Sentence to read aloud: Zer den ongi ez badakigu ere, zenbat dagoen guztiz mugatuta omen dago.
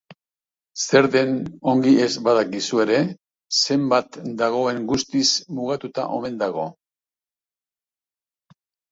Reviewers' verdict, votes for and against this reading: rejected, 0, 2